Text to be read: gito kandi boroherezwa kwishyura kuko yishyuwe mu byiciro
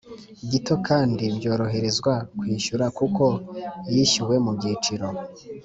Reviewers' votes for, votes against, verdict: 1, 2, rejected